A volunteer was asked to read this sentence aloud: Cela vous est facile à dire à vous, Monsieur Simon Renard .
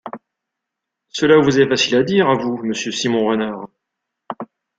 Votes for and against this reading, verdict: 2, 0, accepted